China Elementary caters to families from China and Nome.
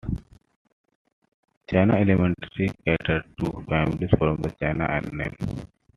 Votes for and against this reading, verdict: 1, 3, rejected